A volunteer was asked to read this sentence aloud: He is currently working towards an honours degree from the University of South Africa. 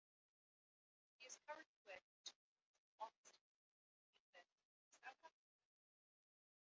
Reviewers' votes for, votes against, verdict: 0, 2, rejected